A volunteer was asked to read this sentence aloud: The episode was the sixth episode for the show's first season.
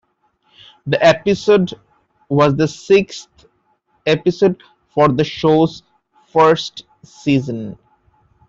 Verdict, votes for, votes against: accepted, 2, 0